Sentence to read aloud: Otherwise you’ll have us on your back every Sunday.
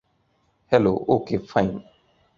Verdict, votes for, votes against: rejected, 1, 2